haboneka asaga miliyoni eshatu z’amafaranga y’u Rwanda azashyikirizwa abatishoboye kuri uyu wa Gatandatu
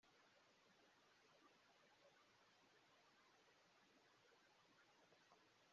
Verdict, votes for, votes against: rejected, 0, 2